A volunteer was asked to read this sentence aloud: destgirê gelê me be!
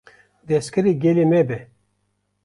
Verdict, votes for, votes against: accepted, 2, 0